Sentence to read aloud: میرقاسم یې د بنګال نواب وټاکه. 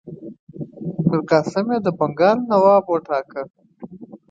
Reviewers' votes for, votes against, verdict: 3, 0, accepted